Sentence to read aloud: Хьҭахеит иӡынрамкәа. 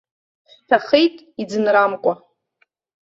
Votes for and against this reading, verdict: 0, 2, rejected